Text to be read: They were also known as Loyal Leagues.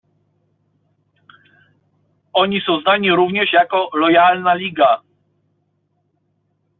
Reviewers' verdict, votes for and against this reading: rejected, 0, 2